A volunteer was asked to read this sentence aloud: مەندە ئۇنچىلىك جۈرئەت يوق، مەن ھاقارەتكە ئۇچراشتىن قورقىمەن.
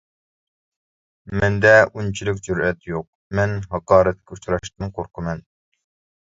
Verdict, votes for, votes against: accepted, 2, 0